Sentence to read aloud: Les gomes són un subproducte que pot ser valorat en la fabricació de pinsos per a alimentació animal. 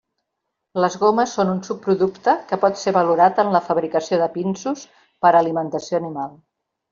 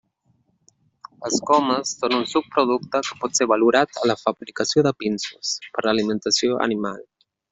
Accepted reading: first